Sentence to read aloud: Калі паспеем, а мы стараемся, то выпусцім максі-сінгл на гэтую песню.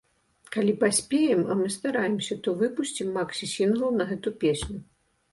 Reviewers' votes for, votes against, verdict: 1, 2, rejected